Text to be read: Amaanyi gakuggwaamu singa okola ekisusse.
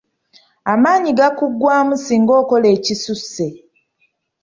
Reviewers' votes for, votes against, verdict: 2, 0, accepted